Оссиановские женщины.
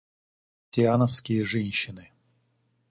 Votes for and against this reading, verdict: 0, 2, rejected